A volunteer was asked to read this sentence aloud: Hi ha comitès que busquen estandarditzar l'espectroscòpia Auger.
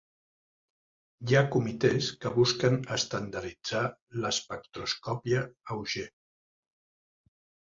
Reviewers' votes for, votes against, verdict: 3, 1, accepted